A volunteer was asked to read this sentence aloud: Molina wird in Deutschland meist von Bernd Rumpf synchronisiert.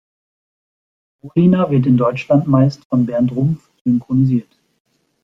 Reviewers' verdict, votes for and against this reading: rejected, 1, 2